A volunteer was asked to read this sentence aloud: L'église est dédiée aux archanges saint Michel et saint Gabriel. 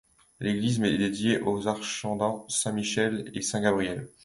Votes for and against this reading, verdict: 1, 2, rejected